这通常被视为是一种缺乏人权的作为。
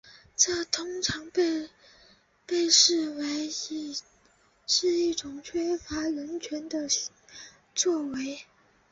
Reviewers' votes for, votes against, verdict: 0, 4, rejected